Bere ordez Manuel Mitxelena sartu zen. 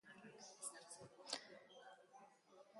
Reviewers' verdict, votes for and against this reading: rejected, 1, 3